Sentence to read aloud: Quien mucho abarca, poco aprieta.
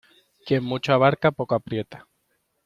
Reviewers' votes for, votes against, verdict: 2, 0, accepted